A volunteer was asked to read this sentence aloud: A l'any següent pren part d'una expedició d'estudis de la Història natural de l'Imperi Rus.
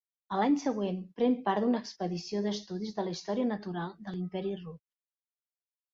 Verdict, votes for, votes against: rejected, 1, 2